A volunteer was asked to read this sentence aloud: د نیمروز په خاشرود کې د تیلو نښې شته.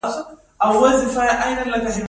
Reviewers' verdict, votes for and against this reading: rejected, 1, 2